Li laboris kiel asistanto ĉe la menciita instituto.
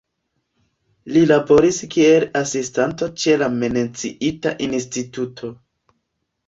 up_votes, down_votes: 0, 2